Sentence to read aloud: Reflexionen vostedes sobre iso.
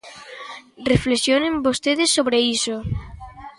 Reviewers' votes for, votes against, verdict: 2, 0, accepted